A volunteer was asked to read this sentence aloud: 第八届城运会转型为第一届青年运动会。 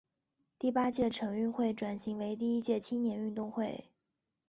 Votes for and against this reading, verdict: 0, 2, rejected